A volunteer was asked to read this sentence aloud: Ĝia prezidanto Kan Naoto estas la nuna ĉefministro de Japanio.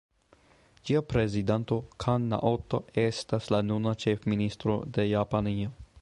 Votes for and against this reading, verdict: 2, 0, accepted